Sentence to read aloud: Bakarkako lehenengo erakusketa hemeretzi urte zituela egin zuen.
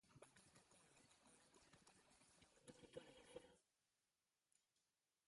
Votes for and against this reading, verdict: 0, 4, rejected